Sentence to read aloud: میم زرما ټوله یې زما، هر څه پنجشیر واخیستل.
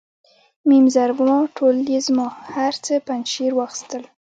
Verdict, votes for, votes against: accepted, 2, 0